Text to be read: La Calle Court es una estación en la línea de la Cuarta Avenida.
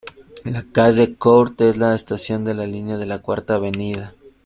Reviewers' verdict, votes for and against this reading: rejected, 0, 2